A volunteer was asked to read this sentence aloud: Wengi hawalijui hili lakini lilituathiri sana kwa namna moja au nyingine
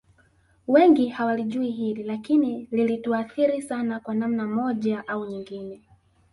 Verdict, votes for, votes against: rejected, 0, 2